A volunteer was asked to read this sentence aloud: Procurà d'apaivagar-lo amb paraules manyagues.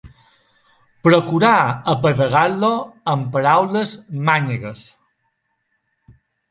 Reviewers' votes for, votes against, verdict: 0, 2, rejected